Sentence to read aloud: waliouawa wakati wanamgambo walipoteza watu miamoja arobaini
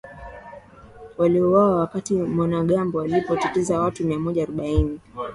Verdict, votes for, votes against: accepted, 2, 0